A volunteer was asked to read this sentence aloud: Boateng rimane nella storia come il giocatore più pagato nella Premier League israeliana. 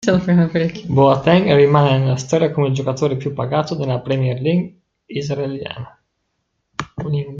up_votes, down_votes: 1, 2